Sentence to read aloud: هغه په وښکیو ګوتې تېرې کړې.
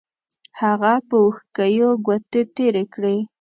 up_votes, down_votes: 2, 0